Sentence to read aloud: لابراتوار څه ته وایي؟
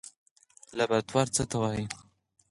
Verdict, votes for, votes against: rejected, 2, 4